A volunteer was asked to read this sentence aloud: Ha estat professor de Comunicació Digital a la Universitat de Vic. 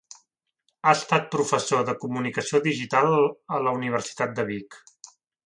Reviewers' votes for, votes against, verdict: 1, 2, rejected